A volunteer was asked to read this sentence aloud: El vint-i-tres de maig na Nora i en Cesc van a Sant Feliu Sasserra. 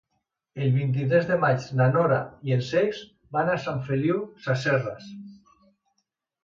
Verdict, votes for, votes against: accepted, 2, 0